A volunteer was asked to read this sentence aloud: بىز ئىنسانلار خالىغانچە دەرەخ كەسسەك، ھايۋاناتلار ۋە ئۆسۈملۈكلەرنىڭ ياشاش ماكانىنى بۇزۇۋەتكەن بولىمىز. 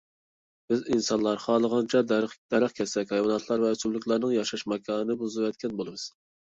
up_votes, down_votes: 0, 2